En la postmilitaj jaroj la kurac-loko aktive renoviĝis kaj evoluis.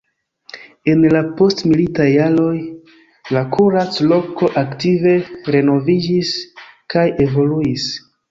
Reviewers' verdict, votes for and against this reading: rejected, 0, 2